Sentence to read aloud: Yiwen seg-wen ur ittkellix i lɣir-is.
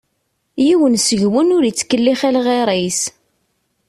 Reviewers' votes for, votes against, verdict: 2, 0, accepted